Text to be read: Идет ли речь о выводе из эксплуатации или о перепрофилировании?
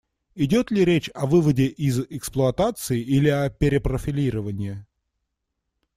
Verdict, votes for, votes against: accepted, 2, 0